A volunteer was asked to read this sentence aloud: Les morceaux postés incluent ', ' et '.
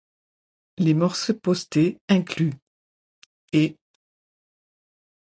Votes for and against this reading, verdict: 1, 2, rejected